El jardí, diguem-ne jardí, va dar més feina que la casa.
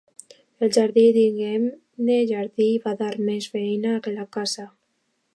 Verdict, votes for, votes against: accepted, 2, 0